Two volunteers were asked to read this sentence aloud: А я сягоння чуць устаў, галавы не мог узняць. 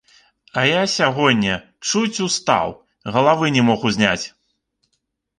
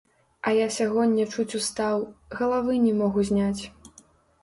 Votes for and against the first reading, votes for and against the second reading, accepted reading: 2, 0, 0, 2, first